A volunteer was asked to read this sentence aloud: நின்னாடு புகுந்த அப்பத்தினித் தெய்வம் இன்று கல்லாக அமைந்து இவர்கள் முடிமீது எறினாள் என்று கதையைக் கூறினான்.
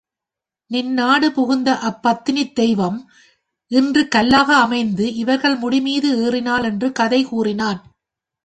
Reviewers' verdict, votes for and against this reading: rejected, 0, 2